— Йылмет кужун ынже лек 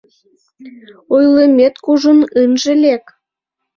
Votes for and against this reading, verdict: 0, 2, rejected